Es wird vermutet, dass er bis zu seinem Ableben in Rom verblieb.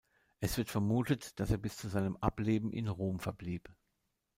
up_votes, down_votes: 2, 0